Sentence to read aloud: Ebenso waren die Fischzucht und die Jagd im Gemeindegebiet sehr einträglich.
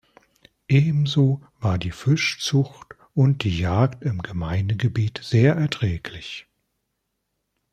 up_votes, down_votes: 0, 2